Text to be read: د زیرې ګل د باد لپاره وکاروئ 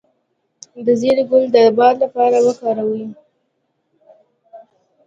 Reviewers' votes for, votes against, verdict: 1, 2, rejected